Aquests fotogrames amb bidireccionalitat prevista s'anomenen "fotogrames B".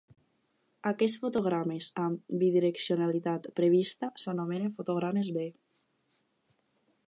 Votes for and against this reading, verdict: 4, 0, accepted